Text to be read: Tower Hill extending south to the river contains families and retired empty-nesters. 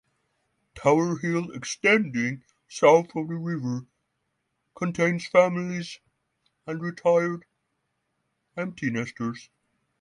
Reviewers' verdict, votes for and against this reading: rejected, 0, 3